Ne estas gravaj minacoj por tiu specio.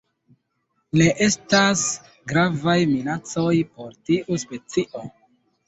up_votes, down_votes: 2, 0